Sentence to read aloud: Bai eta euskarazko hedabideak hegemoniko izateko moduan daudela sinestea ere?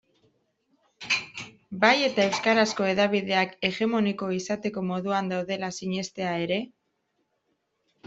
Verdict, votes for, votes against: accepted, 2, 0